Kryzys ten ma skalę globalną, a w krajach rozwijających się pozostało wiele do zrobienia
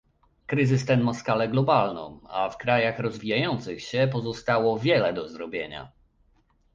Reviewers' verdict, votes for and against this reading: accepted, 2, 0